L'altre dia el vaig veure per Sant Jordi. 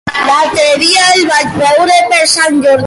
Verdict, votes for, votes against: rejected, 0, 2